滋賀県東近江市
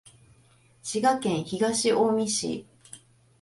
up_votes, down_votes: 2, 0